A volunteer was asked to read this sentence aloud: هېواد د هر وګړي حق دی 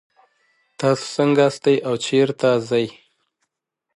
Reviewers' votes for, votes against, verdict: 1, 2, rejected